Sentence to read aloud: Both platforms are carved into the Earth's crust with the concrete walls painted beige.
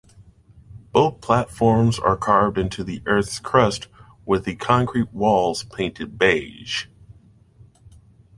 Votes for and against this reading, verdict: 2, 0, accepted